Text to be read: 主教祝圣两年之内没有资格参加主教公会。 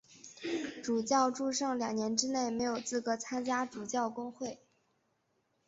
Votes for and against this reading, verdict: 2, 0, accepted